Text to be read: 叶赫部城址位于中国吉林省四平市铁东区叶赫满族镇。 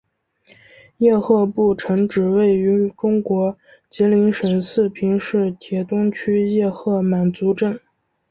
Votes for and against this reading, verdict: 2, 0, accepted